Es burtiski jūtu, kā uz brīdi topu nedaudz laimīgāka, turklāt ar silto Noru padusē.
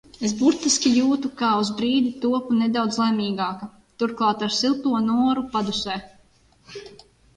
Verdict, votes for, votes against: accepted, 2, 0